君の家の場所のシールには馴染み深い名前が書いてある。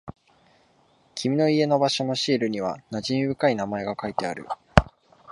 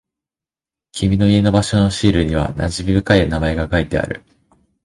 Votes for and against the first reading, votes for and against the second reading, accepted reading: 2, 1, 1, 2, first